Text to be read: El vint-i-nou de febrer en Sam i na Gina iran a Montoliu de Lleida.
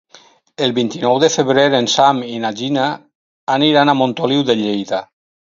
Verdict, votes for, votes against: rejected, 2, 4